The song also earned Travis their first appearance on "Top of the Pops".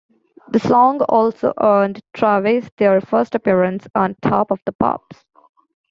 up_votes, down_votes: 2, 0